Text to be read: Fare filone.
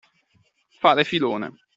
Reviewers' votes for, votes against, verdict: 2, 0, accepted